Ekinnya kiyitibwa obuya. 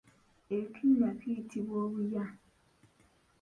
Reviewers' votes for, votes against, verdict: 0, 2, rejected